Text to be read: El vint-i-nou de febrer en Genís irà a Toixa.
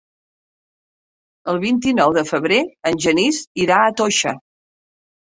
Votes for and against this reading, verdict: 0, 2, rejected